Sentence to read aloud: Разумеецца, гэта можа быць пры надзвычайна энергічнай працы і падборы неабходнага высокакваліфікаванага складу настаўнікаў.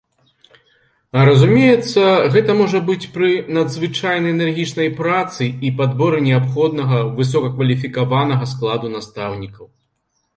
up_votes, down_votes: 2, 0